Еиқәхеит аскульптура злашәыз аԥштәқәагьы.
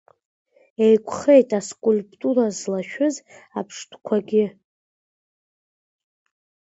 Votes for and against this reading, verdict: 1, 2, rejected